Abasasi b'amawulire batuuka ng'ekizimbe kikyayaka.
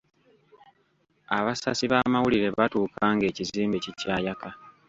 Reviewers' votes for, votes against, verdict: 0, 2, rejected